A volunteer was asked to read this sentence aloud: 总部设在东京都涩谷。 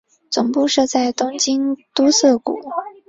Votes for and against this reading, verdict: 4, 0, accepted